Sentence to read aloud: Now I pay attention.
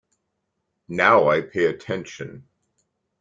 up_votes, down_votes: 2, 0